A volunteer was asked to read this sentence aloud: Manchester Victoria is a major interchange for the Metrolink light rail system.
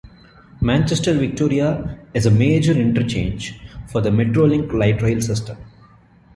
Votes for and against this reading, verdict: 2, 0, accepted